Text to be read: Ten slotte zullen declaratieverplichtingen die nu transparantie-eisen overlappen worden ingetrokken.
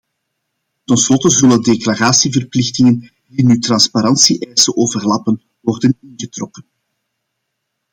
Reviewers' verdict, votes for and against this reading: accepted, 2, 0